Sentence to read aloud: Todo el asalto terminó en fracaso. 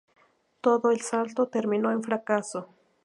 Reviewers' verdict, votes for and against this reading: accepted, 2, 0